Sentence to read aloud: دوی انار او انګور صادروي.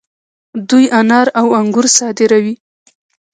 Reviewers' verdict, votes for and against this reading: rejected, 0, 2